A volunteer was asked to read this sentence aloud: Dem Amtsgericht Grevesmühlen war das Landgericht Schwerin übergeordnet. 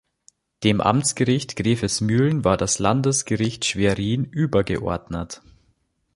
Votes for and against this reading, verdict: 1, 2, rejected